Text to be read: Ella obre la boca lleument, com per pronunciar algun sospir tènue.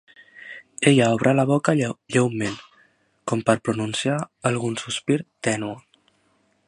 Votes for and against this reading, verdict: 0, 2, rejected